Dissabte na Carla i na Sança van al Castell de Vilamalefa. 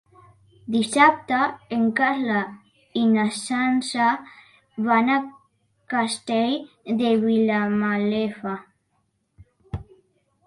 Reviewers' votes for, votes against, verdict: 1, 2, rejected